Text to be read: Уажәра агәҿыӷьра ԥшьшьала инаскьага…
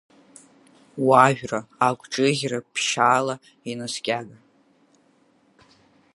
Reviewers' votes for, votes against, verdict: 9, 0, accepted